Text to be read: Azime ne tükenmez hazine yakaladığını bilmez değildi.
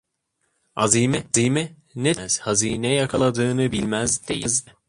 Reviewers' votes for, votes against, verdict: 0, 2, rejected